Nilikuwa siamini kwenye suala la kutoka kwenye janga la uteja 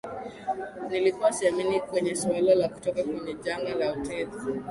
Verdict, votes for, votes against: rejected, 2, 2